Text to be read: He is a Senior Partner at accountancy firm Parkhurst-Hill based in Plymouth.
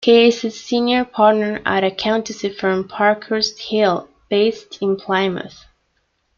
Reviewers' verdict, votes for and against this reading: accepted, 2, 1